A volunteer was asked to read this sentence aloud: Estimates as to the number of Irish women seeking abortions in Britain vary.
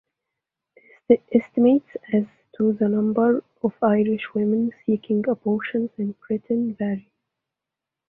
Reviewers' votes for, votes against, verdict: 0, 2, rejected